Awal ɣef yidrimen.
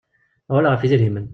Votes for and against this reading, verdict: 1, 2, rejected